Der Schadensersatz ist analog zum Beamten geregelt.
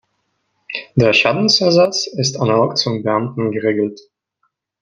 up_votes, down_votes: 3, 0